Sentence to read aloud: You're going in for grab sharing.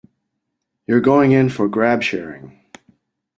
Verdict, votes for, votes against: accepted, 2, 0